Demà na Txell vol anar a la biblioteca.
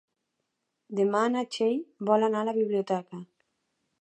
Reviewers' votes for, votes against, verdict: 3, 1, accepted